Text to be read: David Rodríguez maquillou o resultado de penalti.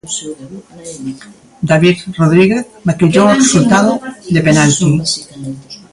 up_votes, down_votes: 1, 2